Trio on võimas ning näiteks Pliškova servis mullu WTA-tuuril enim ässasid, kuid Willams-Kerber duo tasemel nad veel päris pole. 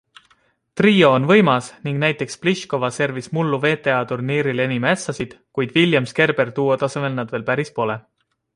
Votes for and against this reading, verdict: 2, 0, accepted